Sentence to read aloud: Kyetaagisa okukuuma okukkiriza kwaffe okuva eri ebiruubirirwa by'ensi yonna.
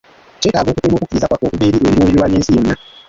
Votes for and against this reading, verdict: 0, 2, rejected